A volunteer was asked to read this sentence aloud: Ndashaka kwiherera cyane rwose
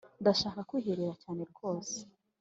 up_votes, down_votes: 2, 0